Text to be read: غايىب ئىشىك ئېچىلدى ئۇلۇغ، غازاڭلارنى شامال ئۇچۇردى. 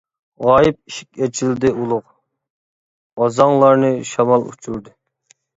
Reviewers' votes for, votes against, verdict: 0, 2, rejected